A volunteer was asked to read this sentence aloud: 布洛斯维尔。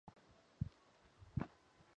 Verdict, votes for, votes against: rejected, 0, 4